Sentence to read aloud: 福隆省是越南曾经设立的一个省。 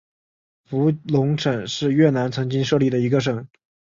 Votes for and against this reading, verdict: 2, 0, accepted